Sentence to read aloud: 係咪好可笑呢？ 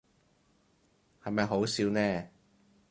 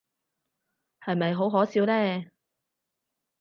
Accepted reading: second